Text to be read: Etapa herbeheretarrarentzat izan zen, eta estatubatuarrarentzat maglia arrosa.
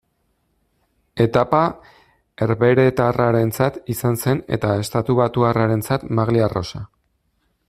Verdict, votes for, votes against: accepted, 2, 0